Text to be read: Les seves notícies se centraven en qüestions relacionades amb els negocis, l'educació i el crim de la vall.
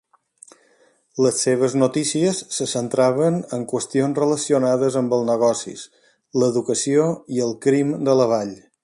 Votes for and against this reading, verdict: 2, 0, accepted